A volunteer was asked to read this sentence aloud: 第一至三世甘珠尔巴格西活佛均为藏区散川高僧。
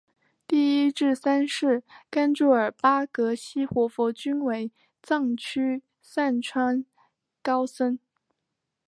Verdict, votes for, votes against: accepted, 2, 0